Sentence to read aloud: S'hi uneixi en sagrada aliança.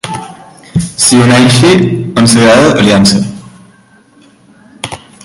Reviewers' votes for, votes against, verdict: 1, 2, rejected